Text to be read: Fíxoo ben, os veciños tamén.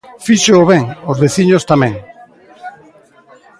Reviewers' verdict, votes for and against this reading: accepted, 2, 0